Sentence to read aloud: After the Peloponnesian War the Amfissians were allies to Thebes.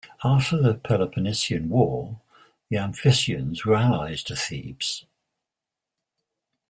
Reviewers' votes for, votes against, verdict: 2, 0, accepted